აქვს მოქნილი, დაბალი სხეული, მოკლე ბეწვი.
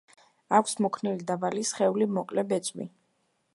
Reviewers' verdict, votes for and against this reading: accepted, 2, 0